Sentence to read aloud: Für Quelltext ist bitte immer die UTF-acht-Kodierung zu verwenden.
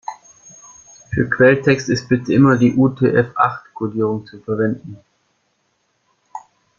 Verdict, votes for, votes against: rejected, 1, 2